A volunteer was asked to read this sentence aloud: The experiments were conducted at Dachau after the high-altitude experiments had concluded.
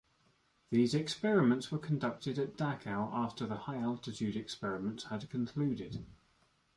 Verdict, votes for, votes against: rejected, 1, 2